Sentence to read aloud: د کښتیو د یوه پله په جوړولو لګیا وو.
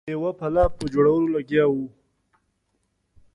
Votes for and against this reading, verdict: 0, 2, rejected